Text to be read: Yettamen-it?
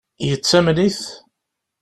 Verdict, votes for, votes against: accepted, 2, 0